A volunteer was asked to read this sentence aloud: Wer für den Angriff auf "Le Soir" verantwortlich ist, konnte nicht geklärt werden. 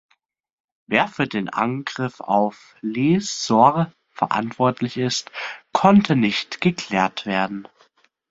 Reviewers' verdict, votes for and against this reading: accepted, 2, 0